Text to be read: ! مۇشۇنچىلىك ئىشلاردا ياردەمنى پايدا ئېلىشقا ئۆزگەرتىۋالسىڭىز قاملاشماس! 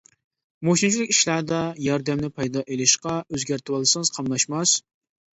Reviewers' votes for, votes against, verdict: 2, 1, accepted